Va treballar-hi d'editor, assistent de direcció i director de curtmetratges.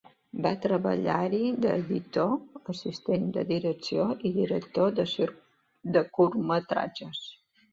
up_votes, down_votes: 0, 2